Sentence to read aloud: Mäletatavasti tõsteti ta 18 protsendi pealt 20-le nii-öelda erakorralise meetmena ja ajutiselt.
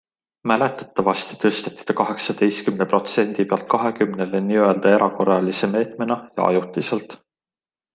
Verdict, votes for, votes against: rejected, 0, 2